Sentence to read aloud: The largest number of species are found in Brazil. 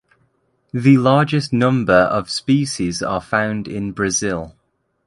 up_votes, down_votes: 3, 0